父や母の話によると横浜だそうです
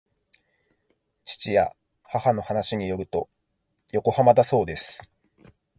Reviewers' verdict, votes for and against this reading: accepted, 2, 0